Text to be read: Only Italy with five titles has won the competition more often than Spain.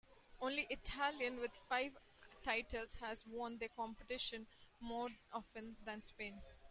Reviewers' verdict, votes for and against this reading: rejected, 0, 2